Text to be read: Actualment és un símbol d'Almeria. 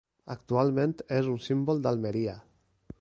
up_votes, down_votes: 3, 0